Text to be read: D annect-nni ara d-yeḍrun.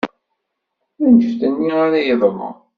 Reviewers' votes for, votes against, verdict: 2, 1, accepted